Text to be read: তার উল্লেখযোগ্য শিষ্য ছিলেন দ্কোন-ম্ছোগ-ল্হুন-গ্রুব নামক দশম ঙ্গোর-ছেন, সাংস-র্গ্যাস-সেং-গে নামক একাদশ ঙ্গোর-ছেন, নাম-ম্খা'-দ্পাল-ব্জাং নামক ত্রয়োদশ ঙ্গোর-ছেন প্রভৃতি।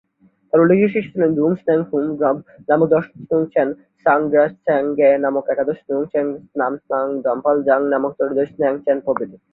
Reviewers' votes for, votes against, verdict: 0, 2, rejected